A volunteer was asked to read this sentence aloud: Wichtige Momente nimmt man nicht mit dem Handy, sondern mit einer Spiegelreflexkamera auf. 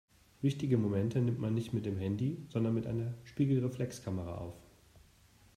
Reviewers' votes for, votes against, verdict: 2, 0, accepted